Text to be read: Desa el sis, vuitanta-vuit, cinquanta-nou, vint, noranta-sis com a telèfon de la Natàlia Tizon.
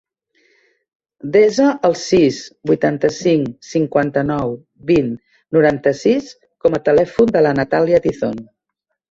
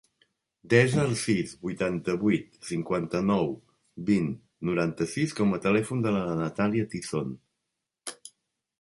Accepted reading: second